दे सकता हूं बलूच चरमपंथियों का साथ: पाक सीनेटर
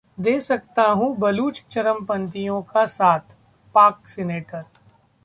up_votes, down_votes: 2, 1